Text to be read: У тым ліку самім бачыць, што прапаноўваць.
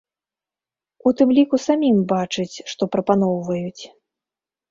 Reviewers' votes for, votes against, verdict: 1, 2, rejected